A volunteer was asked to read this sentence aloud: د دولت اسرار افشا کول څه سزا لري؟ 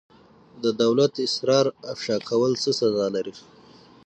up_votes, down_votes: 3, 6